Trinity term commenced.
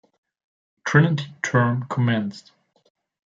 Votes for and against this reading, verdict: 0, 2, rejected